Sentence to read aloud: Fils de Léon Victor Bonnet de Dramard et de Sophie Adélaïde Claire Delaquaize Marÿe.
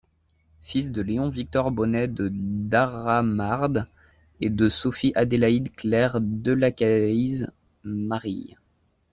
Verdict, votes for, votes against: rejected, 0, 2